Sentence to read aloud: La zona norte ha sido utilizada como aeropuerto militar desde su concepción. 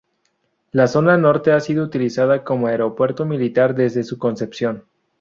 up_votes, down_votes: 2, 0